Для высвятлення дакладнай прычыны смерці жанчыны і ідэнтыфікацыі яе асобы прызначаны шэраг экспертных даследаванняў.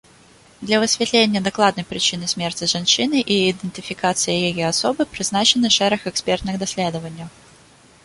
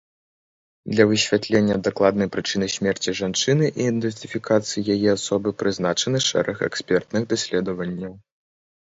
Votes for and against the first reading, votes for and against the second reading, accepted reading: 2, 0, 0, 2, first